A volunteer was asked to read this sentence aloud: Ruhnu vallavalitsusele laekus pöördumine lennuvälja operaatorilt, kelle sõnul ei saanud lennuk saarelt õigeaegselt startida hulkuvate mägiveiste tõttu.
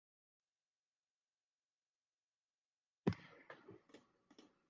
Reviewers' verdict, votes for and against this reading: rejected, 0, 2